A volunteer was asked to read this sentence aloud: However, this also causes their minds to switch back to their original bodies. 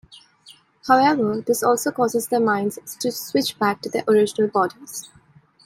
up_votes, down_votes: 2, 0